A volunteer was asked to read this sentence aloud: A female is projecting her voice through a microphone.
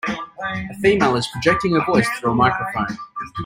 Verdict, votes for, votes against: rejected, 0, 2